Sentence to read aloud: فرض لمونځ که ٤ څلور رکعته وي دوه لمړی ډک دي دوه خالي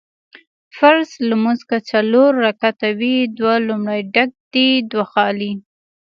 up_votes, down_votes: 0, 2